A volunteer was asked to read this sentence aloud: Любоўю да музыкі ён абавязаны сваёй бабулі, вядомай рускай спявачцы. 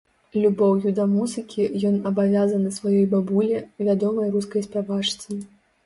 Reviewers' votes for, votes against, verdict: 1, 2, rejected